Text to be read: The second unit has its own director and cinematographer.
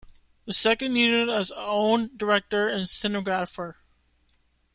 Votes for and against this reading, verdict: 1, 2, rejected